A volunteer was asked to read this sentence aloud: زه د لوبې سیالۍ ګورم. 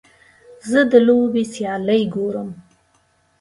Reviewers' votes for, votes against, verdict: 2, 0, accepted